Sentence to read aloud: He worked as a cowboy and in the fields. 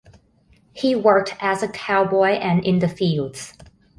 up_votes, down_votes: 2, 0